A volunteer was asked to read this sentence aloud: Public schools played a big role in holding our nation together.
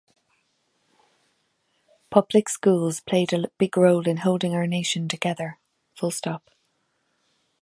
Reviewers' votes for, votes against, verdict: 1, 2, rejected